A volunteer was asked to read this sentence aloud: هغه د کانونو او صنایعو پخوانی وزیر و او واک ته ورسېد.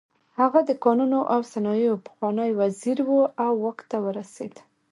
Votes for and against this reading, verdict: 1, 2, rejected